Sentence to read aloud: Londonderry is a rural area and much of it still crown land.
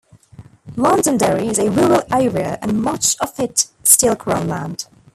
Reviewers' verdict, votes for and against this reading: accepted, 2, 0